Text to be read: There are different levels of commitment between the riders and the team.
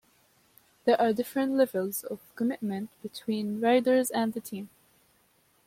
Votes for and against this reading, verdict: 1, 2, rejected